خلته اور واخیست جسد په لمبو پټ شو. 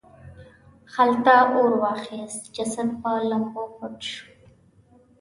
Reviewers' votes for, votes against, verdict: 2, 0, accepted